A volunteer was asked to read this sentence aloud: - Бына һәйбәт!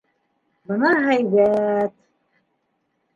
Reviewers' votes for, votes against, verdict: 2, 0, accepted